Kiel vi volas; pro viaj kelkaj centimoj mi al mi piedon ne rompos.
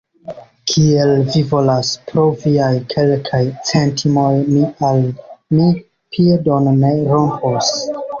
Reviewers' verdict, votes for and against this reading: rejected, 0, 2